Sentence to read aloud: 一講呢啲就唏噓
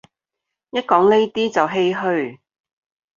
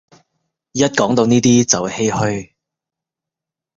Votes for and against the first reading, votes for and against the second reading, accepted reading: 2, 0, 1, 2, first